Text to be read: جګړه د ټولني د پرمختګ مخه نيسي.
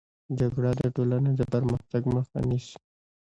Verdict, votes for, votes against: rejected, 1, 2